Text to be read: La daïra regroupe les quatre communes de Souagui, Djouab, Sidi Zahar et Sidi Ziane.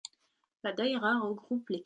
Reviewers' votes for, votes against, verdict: 0, 2, rejected